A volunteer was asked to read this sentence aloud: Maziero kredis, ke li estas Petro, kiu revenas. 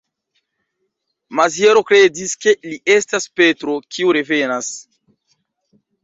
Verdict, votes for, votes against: accepted, 2, 0